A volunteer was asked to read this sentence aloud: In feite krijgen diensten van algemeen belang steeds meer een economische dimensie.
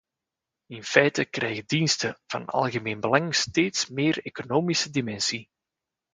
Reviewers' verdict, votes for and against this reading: rejected, 1, 2